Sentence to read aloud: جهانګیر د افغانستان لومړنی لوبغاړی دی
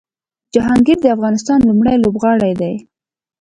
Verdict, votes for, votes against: rejected, 0, 2